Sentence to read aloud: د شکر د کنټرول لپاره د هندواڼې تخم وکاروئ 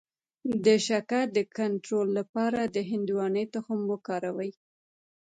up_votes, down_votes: 2, 1